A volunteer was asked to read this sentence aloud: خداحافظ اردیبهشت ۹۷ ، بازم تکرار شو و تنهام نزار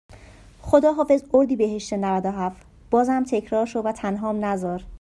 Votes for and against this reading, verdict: 0, 2, rejected